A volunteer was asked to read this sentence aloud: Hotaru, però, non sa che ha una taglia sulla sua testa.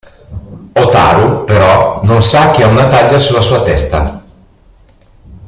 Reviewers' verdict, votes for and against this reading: accepted, 2, 0